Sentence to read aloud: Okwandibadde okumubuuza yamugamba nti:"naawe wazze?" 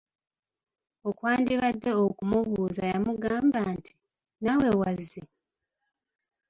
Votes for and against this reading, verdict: 2, 0, accepted